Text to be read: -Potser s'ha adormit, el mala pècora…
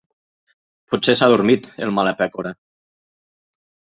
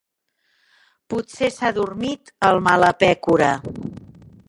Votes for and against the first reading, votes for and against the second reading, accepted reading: 2, 0, 1, 2, first